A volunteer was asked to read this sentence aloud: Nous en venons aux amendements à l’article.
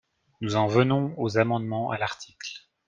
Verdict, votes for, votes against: accepted, 2, 0